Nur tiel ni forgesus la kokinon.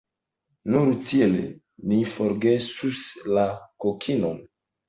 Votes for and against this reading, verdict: 0, 2, rejected